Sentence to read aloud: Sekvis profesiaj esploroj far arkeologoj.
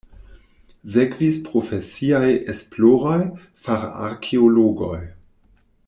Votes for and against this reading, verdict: 1, 2, rejected